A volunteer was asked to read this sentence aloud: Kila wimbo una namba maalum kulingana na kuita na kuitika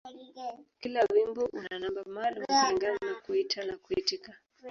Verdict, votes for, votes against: rejected, 2, 3